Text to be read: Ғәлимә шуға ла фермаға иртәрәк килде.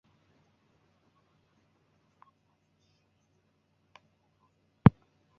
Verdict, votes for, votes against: rejected, 0, 2